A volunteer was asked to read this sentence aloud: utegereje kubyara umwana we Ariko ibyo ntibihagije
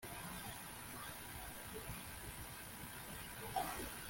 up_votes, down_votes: 1, 2